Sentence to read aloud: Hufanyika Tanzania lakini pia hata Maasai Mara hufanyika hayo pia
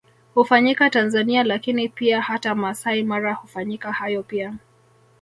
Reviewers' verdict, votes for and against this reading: rejected, 1, 2